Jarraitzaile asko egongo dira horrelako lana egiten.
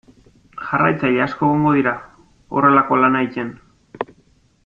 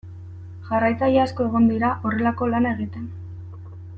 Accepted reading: second